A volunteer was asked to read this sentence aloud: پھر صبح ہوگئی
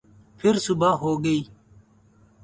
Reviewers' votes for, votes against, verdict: 0, 2, rejected